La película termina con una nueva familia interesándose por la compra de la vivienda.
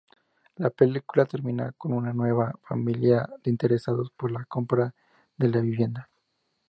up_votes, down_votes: 0, 2